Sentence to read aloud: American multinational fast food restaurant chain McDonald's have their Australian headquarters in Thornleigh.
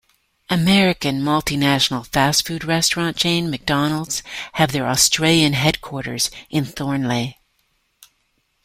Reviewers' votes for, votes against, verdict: 2, 0, accepted